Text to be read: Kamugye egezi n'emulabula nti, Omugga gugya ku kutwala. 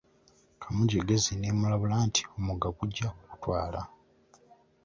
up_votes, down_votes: 1, 2